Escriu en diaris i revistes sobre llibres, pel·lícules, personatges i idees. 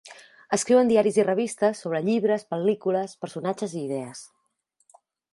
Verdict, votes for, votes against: accepted, 4, 0